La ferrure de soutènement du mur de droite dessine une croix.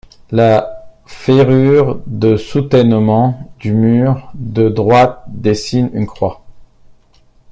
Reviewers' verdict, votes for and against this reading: accepted, 2, 0